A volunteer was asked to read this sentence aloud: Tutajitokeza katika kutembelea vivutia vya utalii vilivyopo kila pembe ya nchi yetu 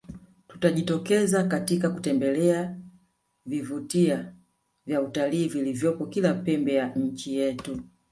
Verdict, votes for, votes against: rejected, 1, 2